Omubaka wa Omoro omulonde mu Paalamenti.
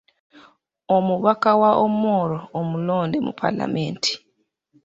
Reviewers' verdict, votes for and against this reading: accepted, 2, 0